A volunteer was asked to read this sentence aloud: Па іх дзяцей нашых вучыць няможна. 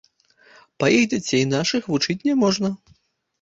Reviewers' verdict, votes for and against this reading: accepted, 2, 0